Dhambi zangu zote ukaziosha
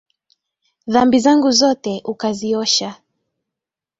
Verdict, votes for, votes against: accepted, 2, 0